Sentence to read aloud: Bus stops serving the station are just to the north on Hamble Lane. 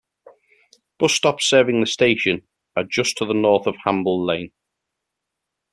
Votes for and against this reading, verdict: 2, 0, accepted